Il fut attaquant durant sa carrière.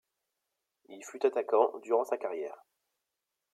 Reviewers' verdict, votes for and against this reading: accepted, 2, 1